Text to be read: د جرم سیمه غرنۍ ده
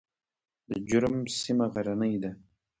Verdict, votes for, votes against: rejected, 1, 2